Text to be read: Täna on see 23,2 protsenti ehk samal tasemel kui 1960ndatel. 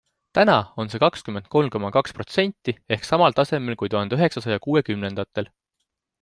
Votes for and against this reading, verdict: 0, 2, rejected